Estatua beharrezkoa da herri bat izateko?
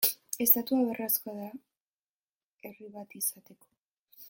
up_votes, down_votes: 0, 2